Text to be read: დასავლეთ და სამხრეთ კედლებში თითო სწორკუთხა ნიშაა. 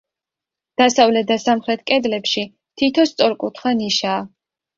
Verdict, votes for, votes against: accepted, 2, 0